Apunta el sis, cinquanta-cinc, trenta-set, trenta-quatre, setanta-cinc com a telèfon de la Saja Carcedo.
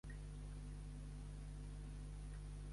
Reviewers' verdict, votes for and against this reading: rejected, 0, 2